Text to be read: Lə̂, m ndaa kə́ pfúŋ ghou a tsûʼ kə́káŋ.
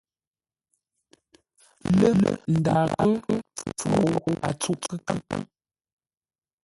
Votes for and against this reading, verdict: 2, 1, accepted